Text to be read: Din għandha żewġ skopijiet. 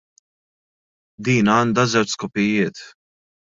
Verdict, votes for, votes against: accepted, 2, 0